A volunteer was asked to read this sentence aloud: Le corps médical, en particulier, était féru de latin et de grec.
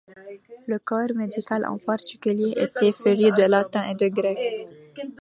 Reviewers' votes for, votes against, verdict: 2, 0, accepted